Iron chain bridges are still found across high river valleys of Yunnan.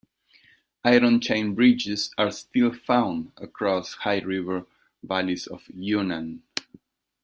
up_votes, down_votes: 0, 2